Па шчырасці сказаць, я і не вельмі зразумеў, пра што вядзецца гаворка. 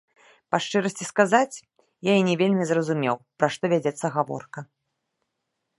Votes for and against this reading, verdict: 1, 2, rejected